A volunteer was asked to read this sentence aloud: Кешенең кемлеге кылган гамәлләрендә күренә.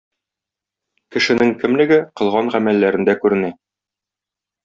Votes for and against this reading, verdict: 2, 0, accepted